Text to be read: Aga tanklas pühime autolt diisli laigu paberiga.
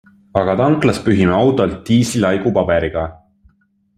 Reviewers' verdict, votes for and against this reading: accepted, 3, 0